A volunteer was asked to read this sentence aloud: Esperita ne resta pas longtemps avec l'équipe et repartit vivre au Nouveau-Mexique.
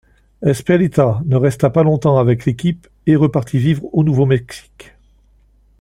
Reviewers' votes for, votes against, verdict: 2, 0, accepted